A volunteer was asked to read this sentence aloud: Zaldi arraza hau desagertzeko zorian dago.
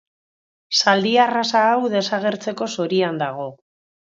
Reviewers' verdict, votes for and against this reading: accepted, 2, 0